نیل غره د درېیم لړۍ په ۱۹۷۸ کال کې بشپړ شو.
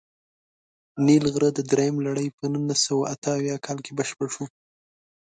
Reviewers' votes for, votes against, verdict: 0, 2, rejected